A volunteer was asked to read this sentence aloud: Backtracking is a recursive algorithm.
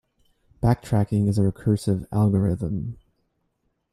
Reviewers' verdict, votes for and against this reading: accepted, 2, 0